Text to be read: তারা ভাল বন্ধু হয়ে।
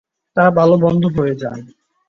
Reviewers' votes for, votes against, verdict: 0, 2, rejected